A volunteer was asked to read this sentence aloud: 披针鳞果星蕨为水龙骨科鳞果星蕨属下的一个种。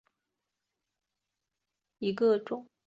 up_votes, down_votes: 0, 4